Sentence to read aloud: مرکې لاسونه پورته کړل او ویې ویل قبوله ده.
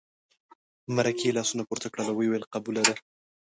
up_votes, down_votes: 2, 0